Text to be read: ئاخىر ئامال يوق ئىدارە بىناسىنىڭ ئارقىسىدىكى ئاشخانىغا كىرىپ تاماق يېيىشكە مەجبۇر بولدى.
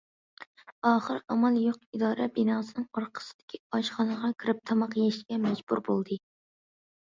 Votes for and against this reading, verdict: 2, 0, accepted